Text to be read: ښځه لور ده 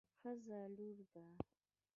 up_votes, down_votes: 0, 2